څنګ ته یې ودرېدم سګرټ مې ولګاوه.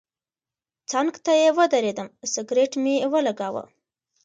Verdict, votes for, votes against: rejected, 0, 2